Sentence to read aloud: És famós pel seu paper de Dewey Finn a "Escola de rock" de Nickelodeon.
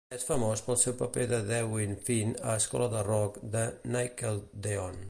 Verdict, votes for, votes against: rejected, 1, 2